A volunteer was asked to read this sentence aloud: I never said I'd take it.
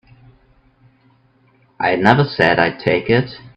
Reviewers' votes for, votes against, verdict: 2, 0, accepted